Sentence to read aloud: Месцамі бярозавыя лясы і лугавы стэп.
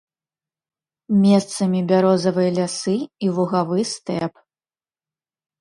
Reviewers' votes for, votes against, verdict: 2, 0, accepted